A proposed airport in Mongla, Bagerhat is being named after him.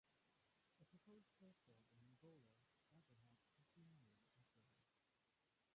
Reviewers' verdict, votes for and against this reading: rejected, 0, 3